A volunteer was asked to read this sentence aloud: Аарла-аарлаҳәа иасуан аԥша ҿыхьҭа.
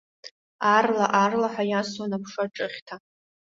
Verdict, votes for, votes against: accepted, 2, 0